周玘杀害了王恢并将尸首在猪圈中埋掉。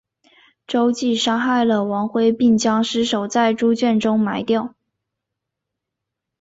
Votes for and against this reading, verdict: 2, 0, accepted